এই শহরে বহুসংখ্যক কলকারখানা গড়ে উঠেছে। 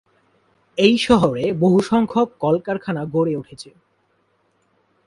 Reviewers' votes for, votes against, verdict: 2, 0, accepted